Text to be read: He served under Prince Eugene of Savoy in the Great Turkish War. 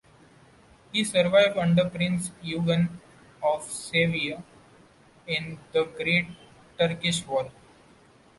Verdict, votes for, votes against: rejected, 0, 2